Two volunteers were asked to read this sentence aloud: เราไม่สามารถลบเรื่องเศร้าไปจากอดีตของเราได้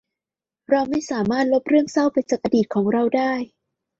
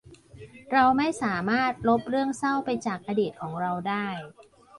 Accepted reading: first